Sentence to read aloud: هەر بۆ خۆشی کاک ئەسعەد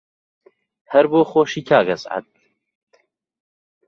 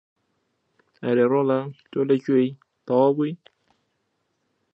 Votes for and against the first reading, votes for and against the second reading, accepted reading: 2, 0, 0, 2, first